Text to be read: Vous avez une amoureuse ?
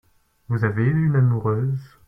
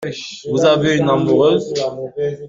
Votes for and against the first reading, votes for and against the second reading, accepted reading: 1, 2, 2, 1, second